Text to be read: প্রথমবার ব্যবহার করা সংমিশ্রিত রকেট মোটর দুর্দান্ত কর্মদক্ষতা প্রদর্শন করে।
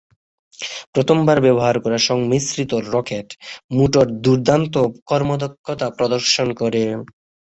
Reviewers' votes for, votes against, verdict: 9, 0, accepted